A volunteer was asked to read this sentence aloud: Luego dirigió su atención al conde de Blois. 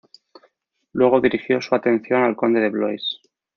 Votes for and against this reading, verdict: 2, 0, accepted